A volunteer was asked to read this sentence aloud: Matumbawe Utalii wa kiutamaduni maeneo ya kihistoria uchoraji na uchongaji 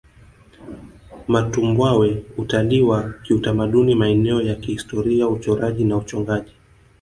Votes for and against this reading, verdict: 2, 3, rejected